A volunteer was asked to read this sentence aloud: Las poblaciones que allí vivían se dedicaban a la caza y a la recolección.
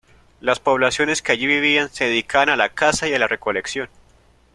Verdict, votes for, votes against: accepted, 2, 0